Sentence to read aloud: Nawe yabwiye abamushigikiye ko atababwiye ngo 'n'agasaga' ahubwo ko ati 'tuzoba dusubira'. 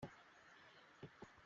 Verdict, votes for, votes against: rejected, 0, 2